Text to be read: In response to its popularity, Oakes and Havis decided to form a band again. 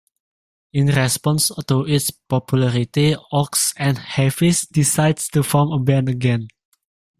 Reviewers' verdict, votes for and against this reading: rejected, 0, 2